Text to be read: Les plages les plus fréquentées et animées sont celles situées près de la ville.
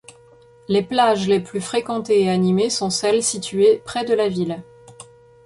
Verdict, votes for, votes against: accepted, 2, 0